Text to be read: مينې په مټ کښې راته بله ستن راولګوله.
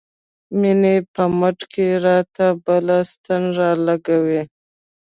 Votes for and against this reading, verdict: 0, 2, rejected